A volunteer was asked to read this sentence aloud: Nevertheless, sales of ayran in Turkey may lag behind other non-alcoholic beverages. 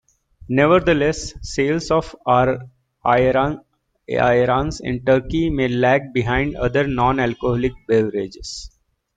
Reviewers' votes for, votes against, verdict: 2, 1, accepted